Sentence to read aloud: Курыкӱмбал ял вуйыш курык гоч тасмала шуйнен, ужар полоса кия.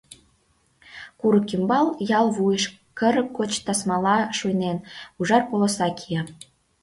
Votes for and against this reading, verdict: 1, 2, rejected